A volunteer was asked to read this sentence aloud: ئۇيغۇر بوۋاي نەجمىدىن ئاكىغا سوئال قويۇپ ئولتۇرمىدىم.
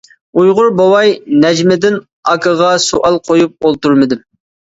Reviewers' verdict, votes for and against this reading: accepted, 2, 0